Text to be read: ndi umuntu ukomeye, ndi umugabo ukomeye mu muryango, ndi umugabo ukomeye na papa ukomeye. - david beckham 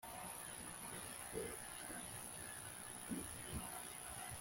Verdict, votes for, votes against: rejected, 0, 2